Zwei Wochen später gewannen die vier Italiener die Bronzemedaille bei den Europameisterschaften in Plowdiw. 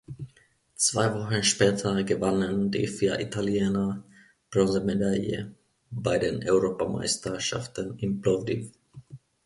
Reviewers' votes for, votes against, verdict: 0, 2, rejected